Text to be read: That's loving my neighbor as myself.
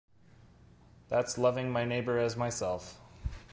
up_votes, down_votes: 2, 0